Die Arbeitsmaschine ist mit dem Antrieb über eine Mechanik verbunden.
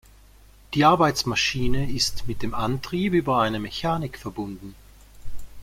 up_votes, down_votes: 2, 0